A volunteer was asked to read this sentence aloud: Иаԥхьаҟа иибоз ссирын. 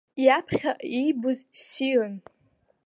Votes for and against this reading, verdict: 2, 0, accepted